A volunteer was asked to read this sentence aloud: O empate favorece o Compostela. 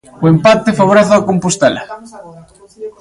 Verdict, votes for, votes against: rejected, 0, 3